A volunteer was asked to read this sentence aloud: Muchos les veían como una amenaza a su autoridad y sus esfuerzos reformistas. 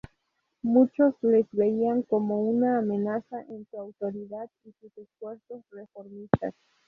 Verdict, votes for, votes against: rejected, 0, 2